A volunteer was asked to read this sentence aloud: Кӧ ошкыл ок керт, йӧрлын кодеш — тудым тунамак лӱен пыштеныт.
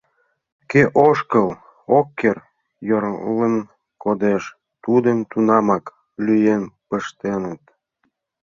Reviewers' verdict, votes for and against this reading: rejected, 1, 2